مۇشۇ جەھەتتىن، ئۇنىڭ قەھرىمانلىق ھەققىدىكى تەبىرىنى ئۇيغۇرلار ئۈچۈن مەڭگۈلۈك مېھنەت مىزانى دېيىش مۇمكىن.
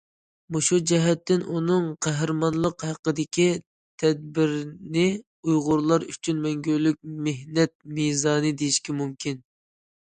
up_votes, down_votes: 0, 2